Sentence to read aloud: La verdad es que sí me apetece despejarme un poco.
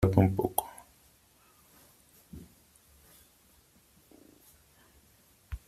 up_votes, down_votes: 0, 3